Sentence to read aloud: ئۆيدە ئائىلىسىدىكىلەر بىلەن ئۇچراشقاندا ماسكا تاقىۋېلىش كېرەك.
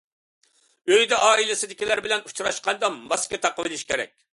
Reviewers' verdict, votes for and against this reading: accepted, 2, 0